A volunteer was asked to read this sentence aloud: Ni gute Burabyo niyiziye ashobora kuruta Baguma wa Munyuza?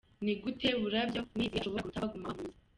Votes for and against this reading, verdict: 0, 2, rejected